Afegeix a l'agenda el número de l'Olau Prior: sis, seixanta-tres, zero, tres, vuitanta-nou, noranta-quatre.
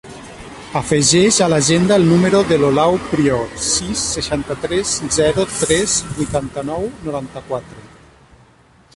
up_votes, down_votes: 1, 2